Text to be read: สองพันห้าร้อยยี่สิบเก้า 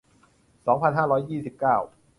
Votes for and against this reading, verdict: 2, 0, accepted